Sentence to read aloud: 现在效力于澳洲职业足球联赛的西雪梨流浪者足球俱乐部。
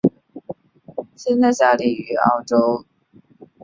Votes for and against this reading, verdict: 0, 2, rejected